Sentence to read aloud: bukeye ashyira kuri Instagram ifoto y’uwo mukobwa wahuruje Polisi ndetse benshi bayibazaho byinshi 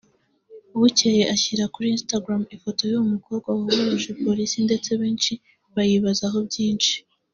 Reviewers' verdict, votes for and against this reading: accepted, 2, 0